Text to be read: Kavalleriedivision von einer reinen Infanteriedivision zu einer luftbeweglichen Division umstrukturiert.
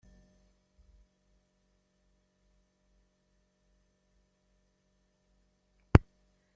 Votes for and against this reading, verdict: 0, 2, rejected